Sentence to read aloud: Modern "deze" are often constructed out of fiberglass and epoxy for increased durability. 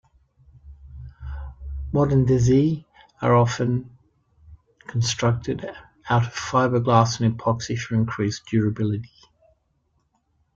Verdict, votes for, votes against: rejected, 0, 2